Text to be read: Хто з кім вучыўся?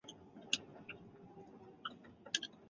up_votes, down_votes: 0, 2